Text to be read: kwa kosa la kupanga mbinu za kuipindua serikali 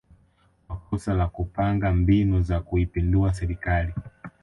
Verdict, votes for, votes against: accepted, 2, 0